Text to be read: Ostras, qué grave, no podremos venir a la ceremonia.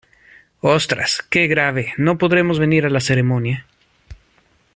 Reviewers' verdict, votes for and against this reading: accepted, 2, 0